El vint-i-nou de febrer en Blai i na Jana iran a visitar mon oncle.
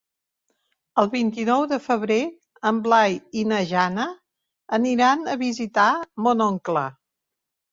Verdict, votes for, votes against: rejected, 0, 2